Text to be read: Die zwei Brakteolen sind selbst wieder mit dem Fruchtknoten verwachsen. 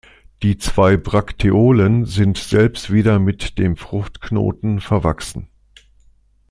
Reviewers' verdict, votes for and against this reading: accepted, 2, 0